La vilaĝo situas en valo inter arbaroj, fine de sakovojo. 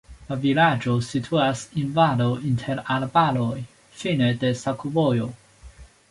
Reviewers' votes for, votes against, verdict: 2, 1, accepted